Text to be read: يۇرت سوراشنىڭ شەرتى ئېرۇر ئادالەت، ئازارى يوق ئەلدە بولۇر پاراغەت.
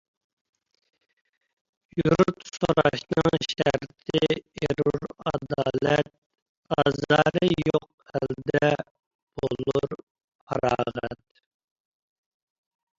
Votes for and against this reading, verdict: 0, 2, rejected